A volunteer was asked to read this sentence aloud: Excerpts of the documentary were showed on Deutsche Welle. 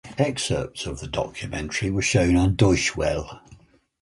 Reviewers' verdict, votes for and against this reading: accepted, 2, 1